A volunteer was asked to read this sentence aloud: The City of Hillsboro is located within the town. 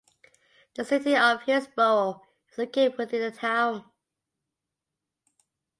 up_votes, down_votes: 0, 2